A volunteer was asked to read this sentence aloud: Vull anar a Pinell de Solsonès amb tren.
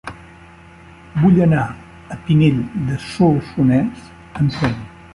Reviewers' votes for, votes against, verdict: 2, 0, accepted